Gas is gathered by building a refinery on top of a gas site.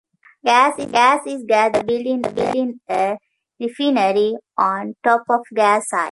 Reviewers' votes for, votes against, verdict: 0, 2, rejected